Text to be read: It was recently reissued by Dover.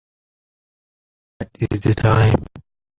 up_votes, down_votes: 0, 2